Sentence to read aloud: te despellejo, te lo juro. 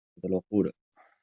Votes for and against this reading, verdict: 0, 2, rejected